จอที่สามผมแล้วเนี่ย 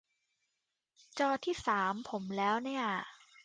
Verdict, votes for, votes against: accepted, 2, 0